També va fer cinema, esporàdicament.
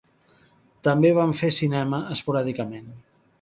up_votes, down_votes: 0, 2